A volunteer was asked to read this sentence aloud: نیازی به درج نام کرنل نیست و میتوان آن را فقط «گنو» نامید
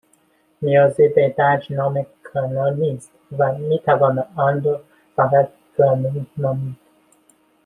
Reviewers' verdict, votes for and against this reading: rejected, 0, 2